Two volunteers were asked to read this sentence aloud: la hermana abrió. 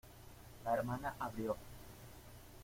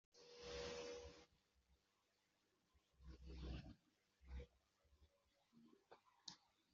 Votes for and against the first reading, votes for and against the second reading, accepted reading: 2, 0, 0, 2, first